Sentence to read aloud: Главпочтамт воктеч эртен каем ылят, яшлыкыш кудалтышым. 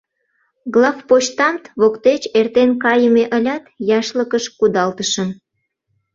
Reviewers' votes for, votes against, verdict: 0, 2, rejected